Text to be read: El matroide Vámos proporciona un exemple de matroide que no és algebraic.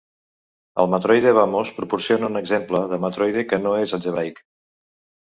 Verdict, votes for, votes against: rejected, 1, 2